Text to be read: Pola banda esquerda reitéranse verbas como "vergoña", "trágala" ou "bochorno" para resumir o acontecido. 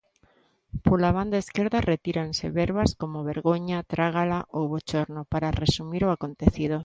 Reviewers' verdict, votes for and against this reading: rejected, 1, 2